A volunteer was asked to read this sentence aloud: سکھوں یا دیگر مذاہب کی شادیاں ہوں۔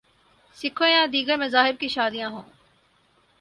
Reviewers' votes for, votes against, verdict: 8, 0, accepted